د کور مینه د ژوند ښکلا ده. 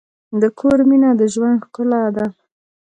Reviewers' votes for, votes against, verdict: 2, 1, accepted